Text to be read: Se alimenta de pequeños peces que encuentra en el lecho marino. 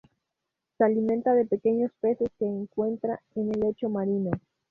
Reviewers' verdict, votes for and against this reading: accepted, 2, 0